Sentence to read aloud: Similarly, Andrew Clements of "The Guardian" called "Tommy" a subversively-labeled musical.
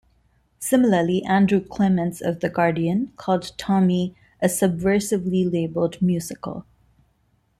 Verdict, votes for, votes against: accepted, 2, 1